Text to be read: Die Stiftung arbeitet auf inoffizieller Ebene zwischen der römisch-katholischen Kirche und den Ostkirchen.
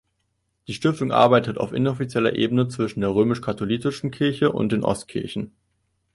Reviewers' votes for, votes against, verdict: 0, 2, rejected